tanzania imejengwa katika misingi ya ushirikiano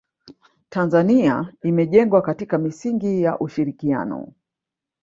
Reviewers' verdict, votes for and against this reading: accepted, 2, 0